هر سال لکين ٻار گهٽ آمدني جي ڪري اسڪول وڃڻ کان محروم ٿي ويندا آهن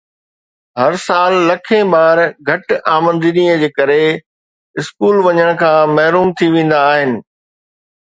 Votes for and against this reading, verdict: 2, 0, accepted